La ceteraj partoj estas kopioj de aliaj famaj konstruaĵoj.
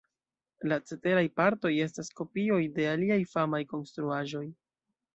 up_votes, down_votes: 2, 0